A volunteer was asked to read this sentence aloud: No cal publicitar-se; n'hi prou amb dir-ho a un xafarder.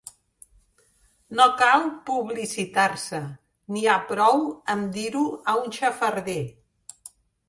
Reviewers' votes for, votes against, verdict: 0, 2, rejected